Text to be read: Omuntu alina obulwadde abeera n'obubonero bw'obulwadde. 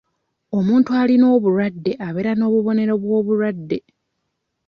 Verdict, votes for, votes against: accepted, 2, 0